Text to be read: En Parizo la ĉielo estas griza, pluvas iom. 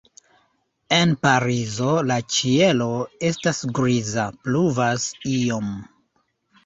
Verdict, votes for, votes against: accepted, 2, 0